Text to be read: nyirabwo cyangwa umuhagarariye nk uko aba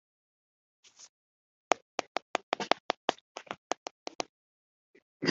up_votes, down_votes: 1, 2